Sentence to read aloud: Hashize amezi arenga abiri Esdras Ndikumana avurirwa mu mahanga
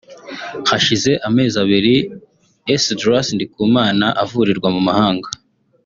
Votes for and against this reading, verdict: 0, 2, rejected